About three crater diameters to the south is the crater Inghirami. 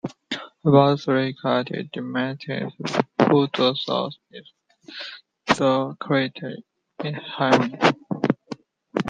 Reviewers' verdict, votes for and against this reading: rejected, 0, 2